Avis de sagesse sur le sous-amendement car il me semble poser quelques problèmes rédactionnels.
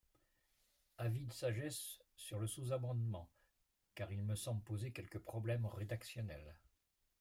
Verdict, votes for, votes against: rejected, 0, 2